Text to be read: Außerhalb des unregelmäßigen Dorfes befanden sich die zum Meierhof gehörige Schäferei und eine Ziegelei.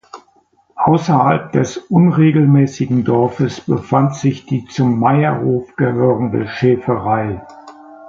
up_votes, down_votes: 0, 2